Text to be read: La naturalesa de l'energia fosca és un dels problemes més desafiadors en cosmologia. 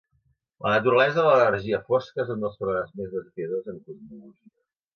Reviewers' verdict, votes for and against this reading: rejected, 0, 2